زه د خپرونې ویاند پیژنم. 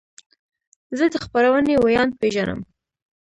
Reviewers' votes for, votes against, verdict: 2, 0, accepted